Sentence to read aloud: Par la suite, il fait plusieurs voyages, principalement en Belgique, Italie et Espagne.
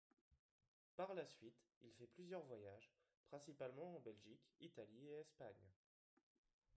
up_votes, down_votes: 2, 1